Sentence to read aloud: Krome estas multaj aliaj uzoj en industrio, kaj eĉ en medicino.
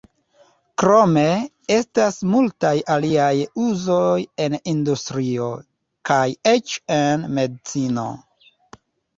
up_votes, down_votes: 0, 2